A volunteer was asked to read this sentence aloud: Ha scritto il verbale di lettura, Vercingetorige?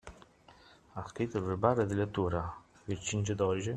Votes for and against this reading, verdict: 2, 0, accepted